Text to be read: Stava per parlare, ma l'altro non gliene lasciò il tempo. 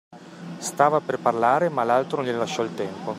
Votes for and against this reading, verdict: 1, 2, rejected